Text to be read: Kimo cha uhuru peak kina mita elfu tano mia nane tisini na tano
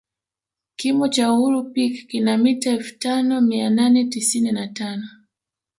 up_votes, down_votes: 2, 1